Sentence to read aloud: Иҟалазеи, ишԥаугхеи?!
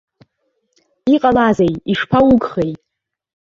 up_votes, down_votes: 1, 2